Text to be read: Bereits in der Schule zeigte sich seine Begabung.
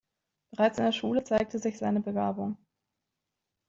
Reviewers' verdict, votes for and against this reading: rejected, 0, 2